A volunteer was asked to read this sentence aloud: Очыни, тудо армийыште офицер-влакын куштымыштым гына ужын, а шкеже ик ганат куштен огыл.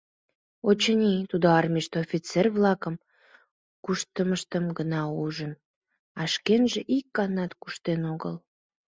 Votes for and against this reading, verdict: 1, 2, rejected